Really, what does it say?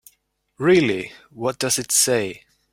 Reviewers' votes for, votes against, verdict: 3, 0, accepted